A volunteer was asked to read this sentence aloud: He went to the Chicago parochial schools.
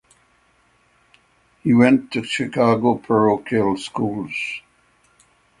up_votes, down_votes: 3, 3